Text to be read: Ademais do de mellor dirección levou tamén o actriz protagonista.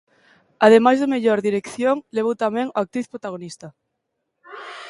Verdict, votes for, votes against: rejected, 0, 2